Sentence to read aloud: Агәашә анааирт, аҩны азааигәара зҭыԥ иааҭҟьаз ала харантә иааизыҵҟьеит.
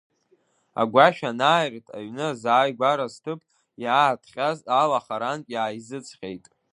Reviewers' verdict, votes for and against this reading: rejected, 1, 2